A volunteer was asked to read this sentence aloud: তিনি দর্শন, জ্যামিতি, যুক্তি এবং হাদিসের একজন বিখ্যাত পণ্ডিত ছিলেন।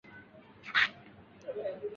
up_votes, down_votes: 0, 2